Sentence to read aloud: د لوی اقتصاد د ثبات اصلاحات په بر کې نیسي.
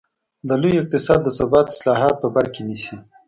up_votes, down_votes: 2, 0